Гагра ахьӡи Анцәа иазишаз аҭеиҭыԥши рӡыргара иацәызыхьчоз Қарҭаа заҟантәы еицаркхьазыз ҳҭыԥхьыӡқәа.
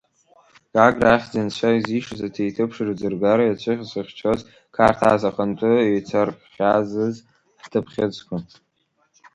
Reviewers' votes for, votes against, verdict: 1, 2, rejected